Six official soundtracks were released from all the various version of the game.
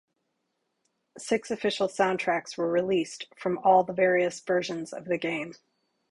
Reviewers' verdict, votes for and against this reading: rejected, 2, 4